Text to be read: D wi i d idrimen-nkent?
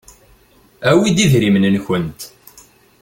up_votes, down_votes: 0, 2